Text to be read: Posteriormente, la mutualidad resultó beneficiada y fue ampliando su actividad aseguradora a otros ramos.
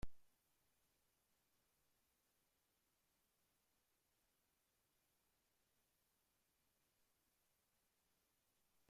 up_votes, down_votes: 0, 2